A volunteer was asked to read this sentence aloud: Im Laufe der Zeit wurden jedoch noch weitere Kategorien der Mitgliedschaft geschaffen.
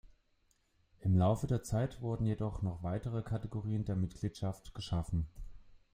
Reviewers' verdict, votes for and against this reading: accepted, 2, 0